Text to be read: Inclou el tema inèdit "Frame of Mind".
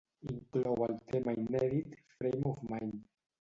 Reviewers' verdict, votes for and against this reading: rejected, 0, 2